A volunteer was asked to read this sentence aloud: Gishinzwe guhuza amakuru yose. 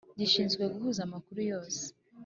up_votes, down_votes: 2, 0